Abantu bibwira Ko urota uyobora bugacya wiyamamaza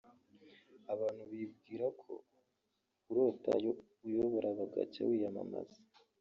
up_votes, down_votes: 1, 2